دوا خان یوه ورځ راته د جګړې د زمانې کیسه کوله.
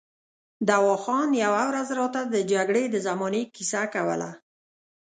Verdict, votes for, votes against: rejected, 0, 2